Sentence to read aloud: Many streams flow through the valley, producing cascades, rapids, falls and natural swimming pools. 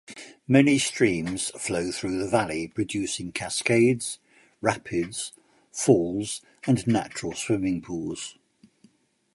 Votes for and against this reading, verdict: 2, 0, accepted